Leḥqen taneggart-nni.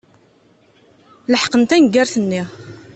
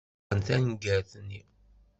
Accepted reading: first